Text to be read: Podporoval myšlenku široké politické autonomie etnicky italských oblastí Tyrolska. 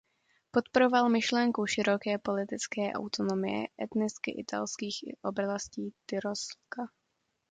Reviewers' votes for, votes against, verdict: 1, 2, rejected